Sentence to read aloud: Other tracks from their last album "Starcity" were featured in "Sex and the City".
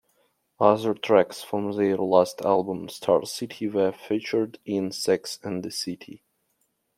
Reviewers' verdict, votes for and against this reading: accepted, 2, 1